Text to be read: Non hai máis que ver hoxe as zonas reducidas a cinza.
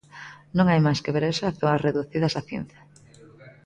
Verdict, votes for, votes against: rejected, 1, 2